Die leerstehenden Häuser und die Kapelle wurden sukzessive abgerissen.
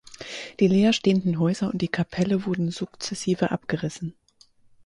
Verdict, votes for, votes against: accepted, 4, 0